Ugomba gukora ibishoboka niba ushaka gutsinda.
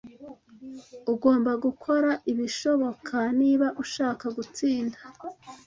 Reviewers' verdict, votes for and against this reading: accepted, 2, 0